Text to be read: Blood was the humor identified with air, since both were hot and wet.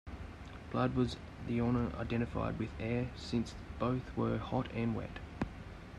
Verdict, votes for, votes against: rejected, 0, 2